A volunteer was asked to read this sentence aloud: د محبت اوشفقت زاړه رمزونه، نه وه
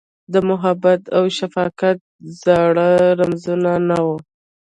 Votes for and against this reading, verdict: 1, 2, rejected